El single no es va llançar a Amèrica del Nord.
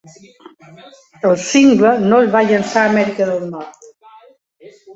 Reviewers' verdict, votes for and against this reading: rejected, 1, 2